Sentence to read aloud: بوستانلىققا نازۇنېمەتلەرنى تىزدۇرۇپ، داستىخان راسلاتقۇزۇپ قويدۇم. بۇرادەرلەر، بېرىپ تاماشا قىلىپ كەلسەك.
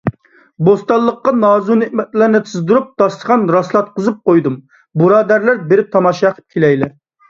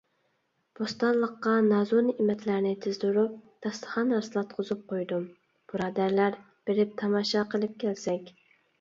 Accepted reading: second